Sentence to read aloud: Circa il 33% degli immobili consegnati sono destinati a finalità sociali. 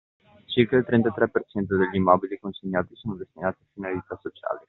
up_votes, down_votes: 0, 2